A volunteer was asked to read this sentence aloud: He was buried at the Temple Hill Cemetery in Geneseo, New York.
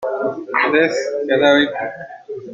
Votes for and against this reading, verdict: 0, 2, rejected